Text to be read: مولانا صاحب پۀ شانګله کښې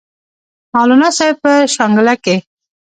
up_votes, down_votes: 2, 3